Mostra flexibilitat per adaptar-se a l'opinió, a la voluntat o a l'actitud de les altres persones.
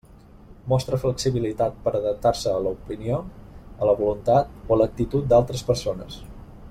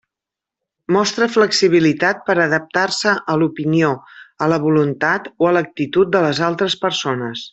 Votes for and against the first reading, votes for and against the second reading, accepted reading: 0, 2, 3, 0, second